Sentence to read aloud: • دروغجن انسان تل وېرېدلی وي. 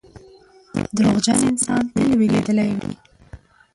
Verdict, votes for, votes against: rejected, 0, 2